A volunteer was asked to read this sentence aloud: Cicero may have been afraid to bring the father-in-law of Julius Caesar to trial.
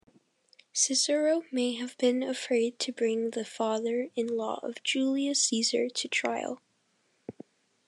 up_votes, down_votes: 2, 0